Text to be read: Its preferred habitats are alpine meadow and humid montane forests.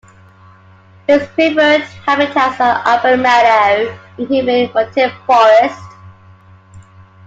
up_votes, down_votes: 1, 2